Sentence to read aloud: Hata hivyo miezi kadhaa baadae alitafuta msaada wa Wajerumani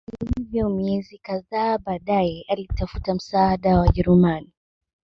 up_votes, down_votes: 2, 0